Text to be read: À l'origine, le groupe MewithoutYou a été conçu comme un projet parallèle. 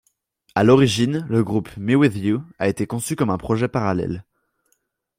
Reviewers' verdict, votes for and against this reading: rejected, 0, 2